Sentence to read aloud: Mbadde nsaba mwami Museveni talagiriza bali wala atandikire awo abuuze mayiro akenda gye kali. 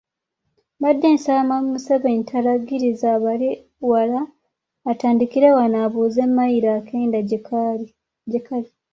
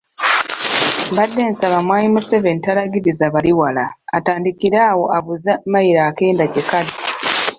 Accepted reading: second